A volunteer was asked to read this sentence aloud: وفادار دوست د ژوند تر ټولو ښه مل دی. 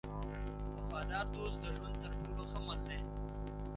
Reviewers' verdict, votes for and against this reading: accepted, 3, 2